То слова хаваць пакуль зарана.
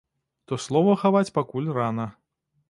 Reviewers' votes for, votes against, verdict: 1, 2, rejected